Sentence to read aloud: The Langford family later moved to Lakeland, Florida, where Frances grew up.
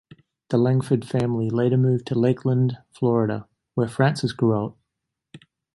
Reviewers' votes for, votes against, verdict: 2, 0, accepted